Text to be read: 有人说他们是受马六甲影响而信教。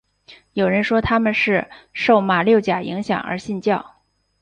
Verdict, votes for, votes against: accepted, 3, 0